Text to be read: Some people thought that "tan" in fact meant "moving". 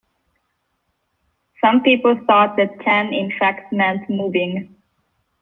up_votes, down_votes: 2, 1